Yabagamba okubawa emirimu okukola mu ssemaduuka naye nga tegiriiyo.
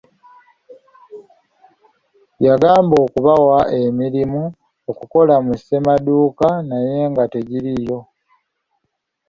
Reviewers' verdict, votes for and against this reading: accepted, 2, 0